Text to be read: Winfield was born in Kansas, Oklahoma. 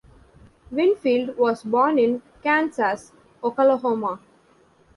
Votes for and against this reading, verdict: 2, 0, accepted